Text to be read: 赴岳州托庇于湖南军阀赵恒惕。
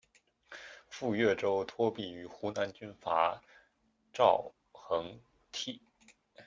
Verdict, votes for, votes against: rejected, 0, 2